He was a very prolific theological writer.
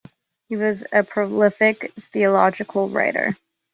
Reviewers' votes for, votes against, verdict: 0, 2, rejected